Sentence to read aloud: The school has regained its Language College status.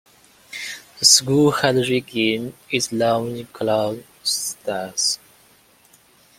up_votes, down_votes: 0, 2